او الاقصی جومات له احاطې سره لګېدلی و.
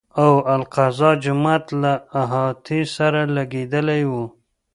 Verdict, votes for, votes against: rejected, 0, 2